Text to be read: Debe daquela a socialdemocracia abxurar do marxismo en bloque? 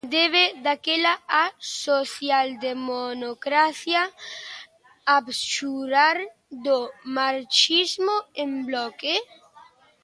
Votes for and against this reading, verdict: 0, 2, rejected